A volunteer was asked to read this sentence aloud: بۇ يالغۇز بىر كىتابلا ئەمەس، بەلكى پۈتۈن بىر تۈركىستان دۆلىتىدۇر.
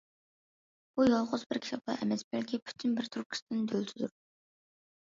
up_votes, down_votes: 2, 0